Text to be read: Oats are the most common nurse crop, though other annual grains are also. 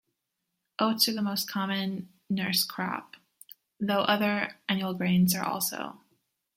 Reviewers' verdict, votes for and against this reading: accepted, 2, 0